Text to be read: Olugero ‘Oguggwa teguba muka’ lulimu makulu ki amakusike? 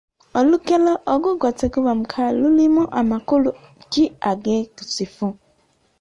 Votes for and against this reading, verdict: 0, 2, rejected